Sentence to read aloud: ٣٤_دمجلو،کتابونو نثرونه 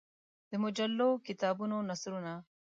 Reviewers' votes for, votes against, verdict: 0, 2, rejected